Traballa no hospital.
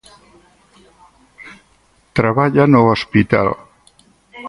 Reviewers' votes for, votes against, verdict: 2, 4, rejected